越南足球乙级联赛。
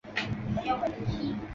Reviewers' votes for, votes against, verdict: 0, 2, rejected